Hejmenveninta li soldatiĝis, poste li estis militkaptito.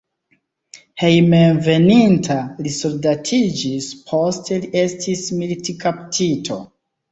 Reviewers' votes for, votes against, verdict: 2, 0, accepted